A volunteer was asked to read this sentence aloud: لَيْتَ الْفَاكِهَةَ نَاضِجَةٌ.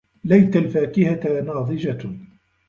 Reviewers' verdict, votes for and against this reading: accepted, 2, 0